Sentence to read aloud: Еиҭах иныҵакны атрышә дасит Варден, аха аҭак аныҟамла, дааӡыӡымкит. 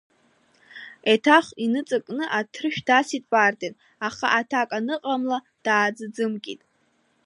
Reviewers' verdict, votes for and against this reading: accepted, 2, 1